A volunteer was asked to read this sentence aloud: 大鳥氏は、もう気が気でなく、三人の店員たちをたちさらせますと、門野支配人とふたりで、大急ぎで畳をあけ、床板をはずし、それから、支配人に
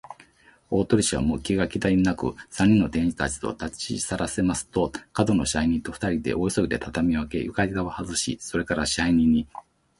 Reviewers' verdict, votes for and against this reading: accepted, 2, 0